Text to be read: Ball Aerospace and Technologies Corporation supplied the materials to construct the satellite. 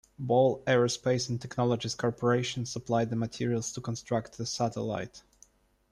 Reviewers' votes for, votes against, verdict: 2, 0, accepted